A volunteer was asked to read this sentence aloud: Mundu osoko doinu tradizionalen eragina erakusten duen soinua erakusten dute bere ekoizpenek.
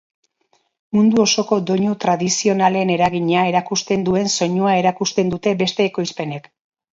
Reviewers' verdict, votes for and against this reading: rejected, 0, 2